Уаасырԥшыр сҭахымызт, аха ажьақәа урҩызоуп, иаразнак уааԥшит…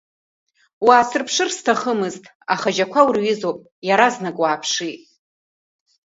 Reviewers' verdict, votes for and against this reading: accepted, 2, 0